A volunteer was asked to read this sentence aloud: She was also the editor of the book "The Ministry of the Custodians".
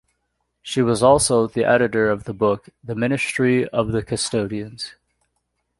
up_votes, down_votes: 2, 1